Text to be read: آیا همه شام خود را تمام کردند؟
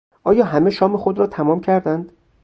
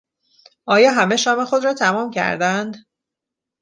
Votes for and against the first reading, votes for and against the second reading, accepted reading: 0, 2, 2, 0, second